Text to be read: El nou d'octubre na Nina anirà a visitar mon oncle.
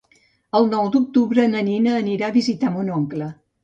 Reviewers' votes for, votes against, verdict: 2, 0, accepted